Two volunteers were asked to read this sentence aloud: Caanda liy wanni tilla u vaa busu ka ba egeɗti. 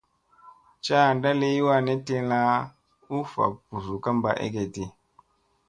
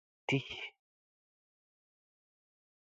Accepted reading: first